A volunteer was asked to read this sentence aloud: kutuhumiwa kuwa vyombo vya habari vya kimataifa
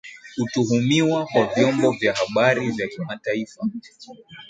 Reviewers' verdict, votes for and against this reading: accepted, 2, 0